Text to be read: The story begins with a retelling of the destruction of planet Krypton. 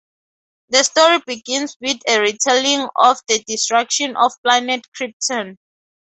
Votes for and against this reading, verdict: 4, 0, accepted